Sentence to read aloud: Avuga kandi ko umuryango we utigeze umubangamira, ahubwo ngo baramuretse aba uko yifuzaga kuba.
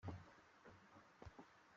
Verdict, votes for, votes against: rejected, 0, 2